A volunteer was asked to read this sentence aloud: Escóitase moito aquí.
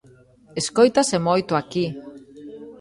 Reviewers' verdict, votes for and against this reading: accepted, 2, 1